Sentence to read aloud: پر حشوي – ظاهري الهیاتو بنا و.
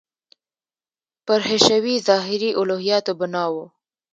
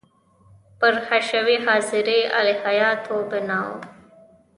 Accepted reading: second